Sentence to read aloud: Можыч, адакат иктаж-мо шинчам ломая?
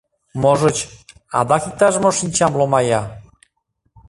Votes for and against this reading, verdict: 0, 2, rejected